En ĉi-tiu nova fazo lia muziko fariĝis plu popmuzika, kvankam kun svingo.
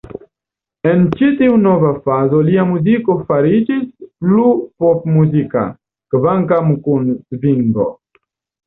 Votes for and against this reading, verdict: 2, 0, accepted